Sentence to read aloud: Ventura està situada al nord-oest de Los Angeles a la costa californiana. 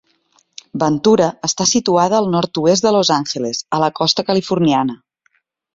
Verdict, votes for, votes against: accepted, 3, 0